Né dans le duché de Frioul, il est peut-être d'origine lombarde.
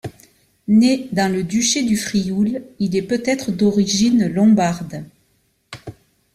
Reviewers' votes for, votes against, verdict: 0, 2, rejected